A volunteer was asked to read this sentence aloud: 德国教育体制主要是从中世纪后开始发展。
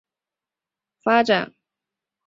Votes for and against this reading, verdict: 0, 3, rejected